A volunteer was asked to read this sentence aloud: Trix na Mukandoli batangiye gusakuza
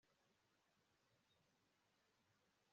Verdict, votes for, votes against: rejected, 1, 2